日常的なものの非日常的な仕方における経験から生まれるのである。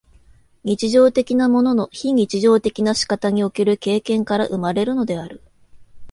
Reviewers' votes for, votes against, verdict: 2, 0, accepted